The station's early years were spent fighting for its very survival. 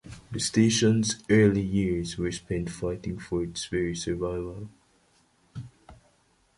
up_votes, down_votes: 2, 0